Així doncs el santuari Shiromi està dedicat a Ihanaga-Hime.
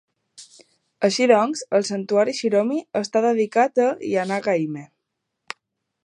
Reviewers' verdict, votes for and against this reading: accepted, 2, 0